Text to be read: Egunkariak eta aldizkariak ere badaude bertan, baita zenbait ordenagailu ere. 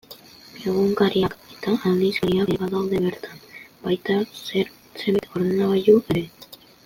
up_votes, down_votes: 0, 2